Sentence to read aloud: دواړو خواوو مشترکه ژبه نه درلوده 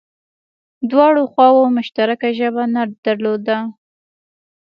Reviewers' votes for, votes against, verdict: 2, 0, accepted